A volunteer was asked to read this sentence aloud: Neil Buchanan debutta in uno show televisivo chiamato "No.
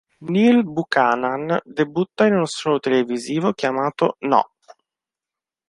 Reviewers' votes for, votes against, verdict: 0, 2, rejected